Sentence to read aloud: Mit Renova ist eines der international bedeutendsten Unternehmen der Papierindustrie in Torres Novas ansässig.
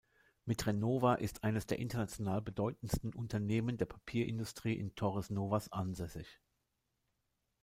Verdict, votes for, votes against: accepted, 3, 0